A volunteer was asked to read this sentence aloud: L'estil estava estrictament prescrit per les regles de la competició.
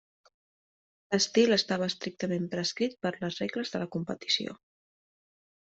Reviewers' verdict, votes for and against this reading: accepted, 2, 0